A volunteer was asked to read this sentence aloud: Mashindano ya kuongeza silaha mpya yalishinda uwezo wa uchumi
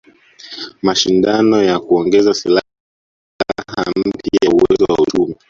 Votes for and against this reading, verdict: 0, 2, rejected